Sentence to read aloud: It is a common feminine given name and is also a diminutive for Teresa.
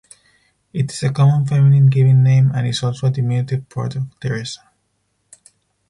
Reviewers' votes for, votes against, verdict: 2, 4, rejected